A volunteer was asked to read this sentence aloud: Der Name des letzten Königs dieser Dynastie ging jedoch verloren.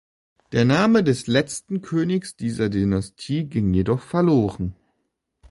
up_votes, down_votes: 2, 1